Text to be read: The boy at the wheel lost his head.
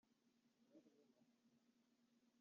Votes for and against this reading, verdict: 0, 2, rejected